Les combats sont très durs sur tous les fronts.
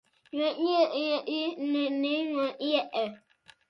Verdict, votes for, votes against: rejected, 0, 2